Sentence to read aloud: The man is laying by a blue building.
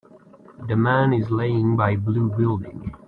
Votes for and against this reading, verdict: 0, 2, rejected